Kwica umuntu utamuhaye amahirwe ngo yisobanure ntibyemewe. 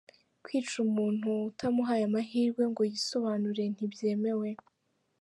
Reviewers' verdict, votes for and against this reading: rejected, 0, 2